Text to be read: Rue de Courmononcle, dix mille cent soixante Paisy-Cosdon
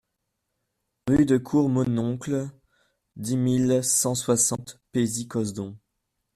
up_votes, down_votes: 1, 2